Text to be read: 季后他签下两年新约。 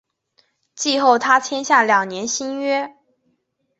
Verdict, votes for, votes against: accepted, 4, 0